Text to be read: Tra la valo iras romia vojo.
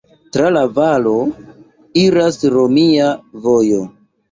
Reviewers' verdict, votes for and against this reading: accepted, 2, 0